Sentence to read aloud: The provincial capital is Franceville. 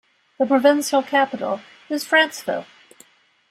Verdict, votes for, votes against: accepted, 2, 0